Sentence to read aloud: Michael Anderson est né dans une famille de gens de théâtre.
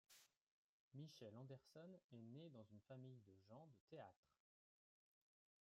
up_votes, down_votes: 0, 3